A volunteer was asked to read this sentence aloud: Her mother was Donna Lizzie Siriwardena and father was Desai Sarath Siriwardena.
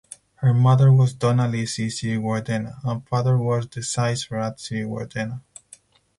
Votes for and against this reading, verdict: 2, 4, rejected